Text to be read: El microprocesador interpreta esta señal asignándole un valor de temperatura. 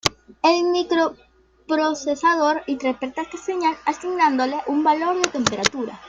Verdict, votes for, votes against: accepted, 2, 0